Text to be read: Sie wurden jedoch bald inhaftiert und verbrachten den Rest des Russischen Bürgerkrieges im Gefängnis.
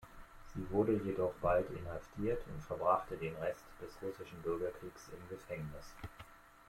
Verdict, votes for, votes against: accepted, 2, 0